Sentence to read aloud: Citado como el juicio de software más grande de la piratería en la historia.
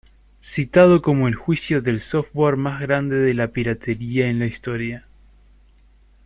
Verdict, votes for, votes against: rejected, 1, 2